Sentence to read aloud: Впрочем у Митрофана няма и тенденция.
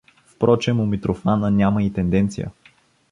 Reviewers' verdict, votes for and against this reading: accepted, 2, 0